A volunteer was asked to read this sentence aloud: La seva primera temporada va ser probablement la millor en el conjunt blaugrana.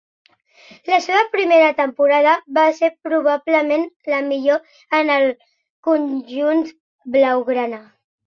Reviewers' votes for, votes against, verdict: 2, 1, accepted